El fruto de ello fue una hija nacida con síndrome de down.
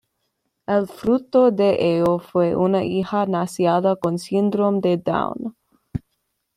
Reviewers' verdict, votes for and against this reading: accepted, 2, 1